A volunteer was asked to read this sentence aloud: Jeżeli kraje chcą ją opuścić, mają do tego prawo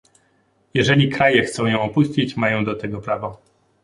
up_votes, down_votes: 2, 0